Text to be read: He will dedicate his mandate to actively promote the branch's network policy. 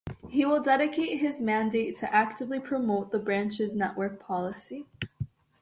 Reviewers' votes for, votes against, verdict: 3, 0, accepted